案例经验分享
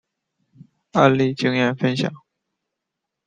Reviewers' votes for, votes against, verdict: 3, 0, accepted